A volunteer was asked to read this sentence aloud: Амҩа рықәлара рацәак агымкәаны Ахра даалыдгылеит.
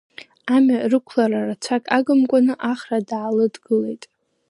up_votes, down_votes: 2, 1